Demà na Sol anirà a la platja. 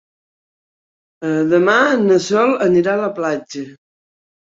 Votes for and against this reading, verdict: 0, 2, rejected